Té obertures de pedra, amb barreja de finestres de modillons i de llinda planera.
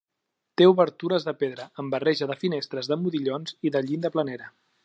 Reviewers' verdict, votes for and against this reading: accepted, 3, 0